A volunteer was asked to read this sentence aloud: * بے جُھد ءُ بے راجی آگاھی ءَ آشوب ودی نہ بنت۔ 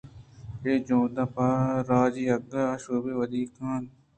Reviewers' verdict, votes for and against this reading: accepted, 2, 0